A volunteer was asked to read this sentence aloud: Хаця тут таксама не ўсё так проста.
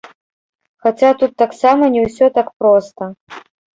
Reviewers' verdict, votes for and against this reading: rejected, 1, 2